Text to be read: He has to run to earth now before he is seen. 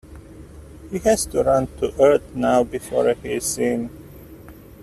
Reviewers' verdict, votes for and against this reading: rejected, 0, 2